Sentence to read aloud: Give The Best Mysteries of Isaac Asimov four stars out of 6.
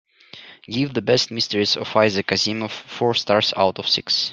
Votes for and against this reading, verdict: 0, 2, rejected